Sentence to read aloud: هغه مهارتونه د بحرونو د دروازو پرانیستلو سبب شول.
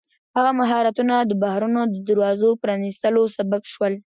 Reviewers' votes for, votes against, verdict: 0, 2, rejected